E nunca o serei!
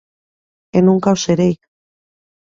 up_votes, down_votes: 2, 0